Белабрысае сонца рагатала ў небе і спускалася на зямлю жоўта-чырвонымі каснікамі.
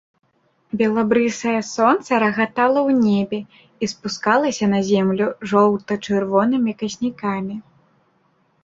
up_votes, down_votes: 0, 2